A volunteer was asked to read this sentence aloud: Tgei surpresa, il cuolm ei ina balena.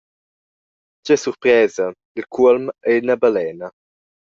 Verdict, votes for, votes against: accepted, 2, 0